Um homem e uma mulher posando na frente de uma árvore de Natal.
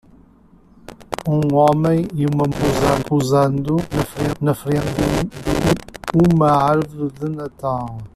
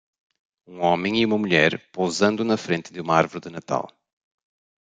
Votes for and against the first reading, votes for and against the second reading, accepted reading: 0, 2, 2, 1, second